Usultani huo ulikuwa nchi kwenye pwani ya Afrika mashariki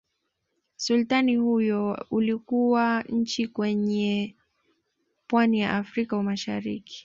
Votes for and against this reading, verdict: 2, 1, accepted